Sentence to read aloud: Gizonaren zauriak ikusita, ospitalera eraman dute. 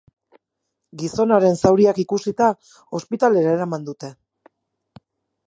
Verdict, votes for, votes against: accepted, 4, 0